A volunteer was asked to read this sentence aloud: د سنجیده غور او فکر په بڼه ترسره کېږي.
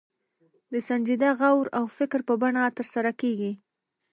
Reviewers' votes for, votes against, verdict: 1, 2, rejected